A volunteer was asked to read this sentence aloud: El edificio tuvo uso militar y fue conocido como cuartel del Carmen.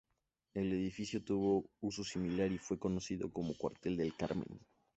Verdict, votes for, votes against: rejected, 0, 2